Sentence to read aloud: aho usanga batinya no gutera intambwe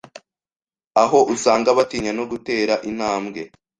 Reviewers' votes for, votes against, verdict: 2, 0, accepted